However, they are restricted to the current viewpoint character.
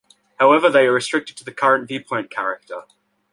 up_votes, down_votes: 2, 0